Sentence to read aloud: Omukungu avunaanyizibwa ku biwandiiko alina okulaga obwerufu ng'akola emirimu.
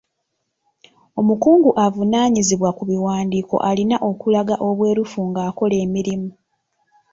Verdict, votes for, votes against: rejected, 1, 2